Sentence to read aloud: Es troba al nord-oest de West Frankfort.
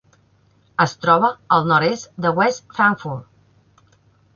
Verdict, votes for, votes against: rejected, 0, 2